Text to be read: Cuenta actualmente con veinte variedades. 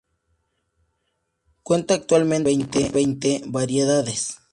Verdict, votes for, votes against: rejected, 0, 4